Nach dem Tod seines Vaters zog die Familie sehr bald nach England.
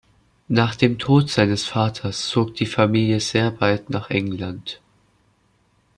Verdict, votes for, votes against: accepted, 2, 0